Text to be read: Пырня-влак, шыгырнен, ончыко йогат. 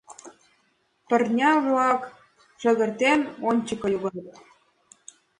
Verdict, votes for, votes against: rejected, 1, 2